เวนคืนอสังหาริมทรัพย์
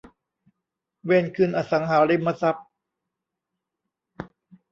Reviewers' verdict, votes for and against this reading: accepted, 2, 0